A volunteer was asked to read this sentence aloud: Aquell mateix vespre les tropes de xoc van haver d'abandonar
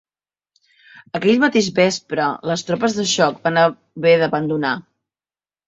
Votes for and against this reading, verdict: 0, 2, rejected